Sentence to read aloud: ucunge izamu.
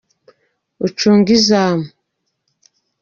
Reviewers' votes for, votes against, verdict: 2, 0, accepted